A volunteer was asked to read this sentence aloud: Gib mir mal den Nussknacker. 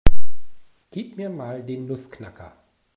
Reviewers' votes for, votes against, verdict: 2, 0, accepted